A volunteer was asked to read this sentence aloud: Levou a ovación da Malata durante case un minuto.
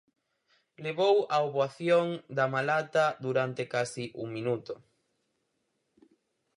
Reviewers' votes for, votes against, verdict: 0, 4, rejected